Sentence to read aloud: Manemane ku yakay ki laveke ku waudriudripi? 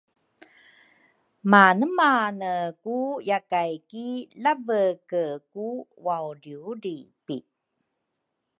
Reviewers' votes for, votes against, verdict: 2, 0, accepted